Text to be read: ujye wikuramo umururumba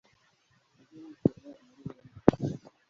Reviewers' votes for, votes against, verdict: 1, 2, rejected